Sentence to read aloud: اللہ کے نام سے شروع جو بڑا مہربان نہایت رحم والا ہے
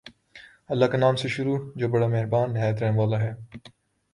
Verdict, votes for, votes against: accepted, 4, 0